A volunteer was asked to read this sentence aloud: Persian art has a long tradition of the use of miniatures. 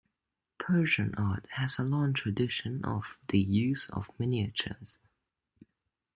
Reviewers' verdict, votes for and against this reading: accepted, 2, 0